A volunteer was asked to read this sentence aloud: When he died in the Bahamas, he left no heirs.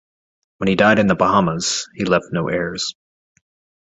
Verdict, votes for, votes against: accepted, 2, 0